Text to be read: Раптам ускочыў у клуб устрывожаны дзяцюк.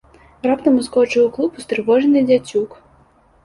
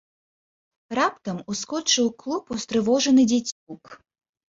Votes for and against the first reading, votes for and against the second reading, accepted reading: 2, 0, 3, 4, first